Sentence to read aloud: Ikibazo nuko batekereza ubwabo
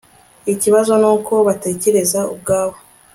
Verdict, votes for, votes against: accepted, 2, 0